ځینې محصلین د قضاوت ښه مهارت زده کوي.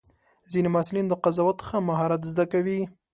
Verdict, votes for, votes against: accepted, 2, 0